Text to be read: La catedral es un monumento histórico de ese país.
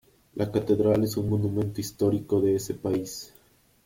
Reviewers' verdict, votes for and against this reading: rejected, 1, 2